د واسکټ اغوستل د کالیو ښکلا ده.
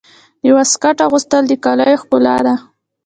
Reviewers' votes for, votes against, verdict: 1, 2, rejected